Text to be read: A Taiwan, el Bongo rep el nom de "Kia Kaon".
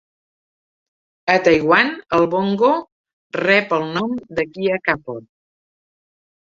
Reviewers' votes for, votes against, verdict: 0, 2, rejected